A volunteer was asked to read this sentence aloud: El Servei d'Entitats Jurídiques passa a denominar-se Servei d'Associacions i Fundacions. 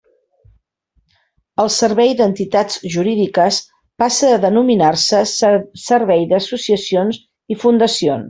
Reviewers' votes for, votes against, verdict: 0, 2, rejected